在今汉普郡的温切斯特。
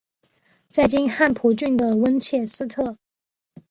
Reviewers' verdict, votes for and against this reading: accepted, 2, 0